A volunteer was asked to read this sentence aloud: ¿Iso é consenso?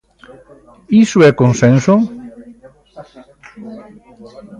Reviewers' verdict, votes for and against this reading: rejected, 0, 2